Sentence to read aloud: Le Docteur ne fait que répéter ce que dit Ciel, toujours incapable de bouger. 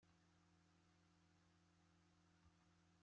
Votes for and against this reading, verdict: 0, 2, rejected